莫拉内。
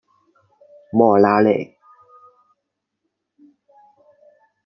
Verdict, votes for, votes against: rejected, 1, 2